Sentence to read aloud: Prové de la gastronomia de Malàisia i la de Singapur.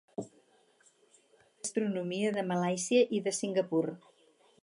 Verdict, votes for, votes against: rejected, 0, 4